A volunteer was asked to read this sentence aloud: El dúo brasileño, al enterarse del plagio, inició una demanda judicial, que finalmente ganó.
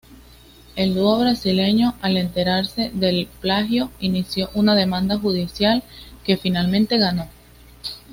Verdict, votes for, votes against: accepted, 2, 0